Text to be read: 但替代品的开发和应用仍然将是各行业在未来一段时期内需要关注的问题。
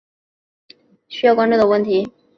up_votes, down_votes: 1, 2